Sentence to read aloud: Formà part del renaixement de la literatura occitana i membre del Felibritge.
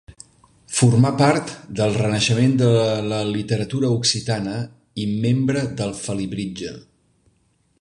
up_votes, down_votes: 1, 2